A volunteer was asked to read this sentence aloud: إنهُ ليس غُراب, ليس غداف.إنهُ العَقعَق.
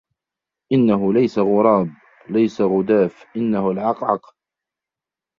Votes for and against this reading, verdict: 1, 2, rejected